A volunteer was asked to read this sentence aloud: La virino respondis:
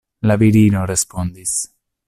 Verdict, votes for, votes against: accepted, 2, 0